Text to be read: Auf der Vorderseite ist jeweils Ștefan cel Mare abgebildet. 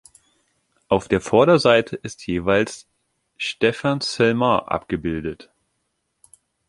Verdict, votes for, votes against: accepted, 2, 0